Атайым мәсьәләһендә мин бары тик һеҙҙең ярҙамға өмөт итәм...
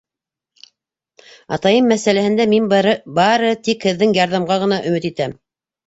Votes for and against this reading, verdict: 0, 2, rejected